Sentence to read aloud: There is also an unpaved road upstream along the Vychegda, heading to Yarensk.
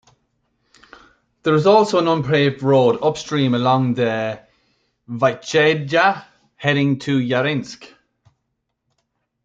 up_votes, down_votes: 2, 0